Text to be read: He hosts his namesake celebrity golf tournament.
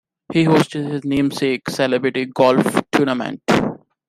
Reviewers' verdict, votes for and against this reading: rejected, 1, 2